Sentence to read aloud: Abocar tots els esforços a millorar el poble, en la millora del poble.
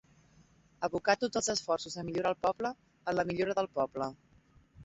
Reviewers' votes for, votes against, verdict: 1, 2, rejected